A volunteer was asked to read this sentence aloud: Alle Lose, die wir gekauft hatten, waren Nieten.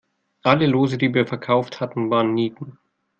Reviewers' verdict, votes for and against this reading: rejected, 1, 2